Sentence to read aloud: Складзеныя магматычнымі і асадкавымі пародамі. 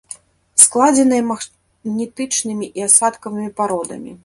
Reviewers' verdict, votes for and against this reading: rejected, 0, 2